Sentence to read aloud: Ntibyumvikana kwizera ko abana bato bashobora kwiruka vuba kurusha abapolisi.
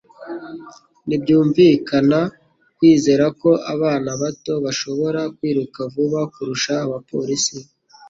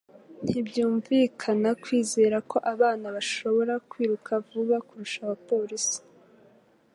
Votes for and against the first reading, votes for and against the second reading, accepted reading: 2, 1, 1, 2, first